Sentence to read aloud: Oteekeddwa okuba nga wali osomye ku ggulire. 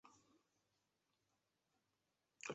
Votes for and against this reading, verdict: 2, 3, rejected